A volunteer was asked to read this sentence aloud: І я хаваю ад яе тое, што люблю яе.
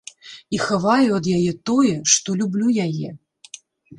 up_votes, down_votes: 1, 2